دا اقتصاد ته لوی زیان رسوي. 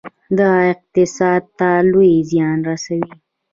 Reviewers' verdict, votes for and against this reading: rejected, 1, 2